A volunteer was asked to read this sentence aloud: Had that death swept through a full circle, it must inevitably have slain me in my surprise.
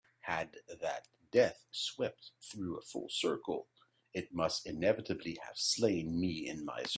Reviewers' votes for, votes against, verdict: 3, 11, rejected